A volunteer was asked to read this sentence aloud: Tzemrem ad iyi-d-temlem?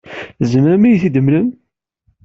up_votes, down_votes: 2, 0